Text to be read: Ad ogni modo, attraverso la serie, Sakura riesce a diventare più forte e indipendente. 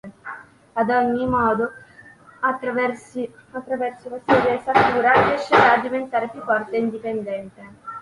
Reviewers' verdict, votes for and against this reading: rejected, 0, 2